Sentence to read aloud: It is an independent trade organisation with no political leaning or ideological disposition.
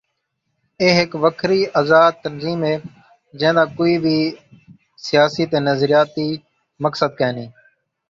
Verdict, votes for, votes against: rejected, 0, 2